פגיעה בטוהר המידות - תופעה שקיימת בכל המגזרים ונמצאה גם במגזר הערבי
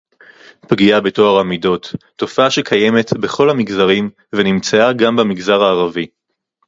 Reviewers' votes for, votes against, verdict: 4, 0, accepted